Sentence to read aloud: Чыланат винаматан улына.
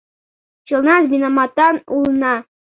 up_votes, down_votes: 1, 2